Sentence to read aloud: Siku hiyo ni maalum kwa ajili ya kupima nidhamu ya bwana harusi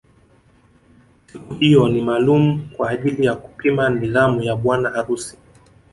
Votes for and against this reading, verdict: 1, 2, rejected